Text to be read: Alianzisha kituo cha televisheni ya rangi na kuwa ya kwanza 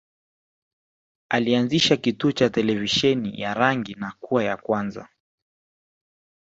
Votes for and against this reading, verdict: 2, 0, accepted